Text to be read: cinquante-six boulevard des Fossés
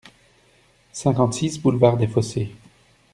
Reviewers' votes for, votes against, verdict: 2, 0, accepted